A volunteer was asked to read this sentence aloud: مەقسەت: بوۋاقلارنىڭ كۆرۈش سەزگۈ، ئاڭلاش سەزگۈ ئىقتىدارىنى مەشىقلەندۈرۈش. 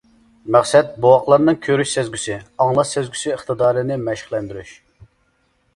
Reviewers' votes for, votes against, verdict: 0, 2, rejected